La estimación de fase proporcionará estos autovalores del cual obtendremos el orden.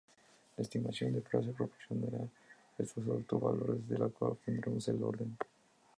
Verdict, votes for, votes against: rejected, 0, 2